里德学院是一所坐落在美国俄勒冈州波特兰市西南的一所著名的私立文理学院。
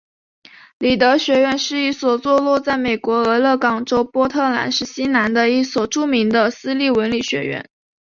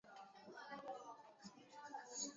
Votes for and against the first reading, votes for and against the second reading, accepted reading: 0, 2, 2, 0, second